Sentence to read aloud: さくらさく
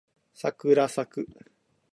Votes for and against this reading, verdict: 3, 0, accepted